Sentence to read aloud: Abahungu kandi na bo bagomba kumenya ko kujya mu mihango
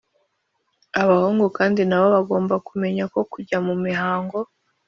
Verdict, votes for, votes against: accepted, 2, 0